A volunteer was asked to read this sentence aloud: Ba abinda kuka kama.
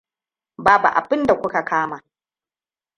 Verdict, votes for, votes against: rejected, 0, 2